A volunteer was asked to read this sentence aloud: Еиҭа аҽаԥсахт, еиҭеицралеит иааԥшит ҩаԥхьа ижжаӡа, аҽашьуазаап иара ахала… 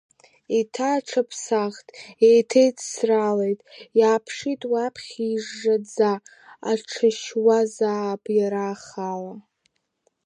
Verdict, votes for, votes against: rejected, 1, 2